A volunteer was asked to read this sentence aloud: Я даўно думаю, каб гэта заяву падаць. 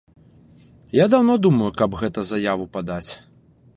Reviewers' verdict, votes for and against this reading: accepted, 2, 0